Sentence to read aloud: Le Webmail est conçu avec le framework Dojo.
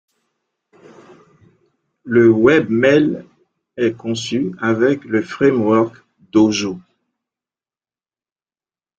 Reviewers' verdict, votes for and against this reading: accepted, 2, 0